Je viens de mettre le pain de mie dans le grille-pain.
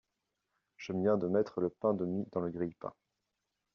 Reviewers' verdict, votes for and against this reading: accepted, 2, 1